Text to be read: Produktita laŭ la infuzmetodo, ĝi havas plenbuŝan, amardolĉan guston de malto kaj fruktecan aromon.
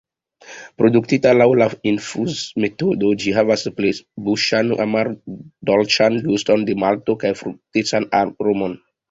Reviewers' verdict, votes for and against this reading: accepted, 2, 0